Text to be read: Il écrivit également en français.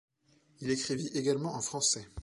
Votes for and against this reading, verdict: 2, 0, accepted